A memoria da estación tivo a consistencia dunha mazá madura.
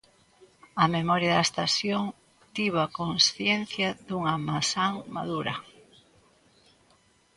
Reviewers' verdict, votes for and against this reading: rejected, 0, 2